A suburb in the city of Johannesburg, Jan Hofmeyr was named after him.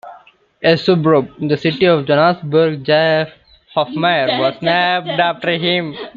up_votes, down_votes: 1, 2